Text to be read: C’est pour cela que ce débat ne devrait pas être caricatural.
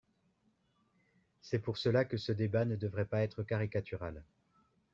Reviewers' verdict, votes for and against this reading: accepted, 2, 0